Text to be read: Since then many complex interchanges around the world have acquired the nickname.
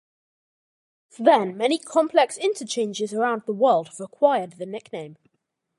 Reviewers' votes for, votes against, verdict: 0, 2, rejected